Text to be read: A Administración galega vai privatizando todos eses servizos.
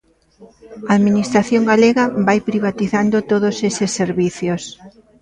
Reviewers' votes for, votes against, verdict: 0, 2, rejected